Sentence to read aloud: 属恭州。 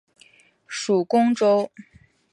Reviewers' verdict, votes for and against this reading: accepted, 2, 0